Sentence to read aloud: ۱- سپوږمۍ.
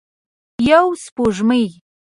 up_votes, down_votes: 0, 2